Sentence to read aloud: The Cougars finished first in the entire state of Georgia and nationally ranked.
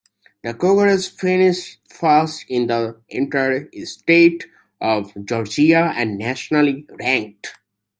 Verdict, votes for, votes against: rejected, 1, 2